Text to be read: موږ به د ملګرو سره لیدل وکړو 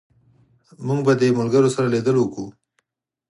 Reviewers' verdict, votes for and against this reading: accepted, 4, 0